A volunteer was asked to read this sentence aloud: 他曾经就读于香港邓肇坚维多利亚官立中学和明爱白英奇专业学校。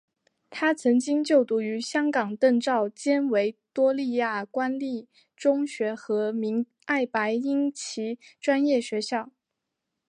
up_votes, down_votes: 2, 0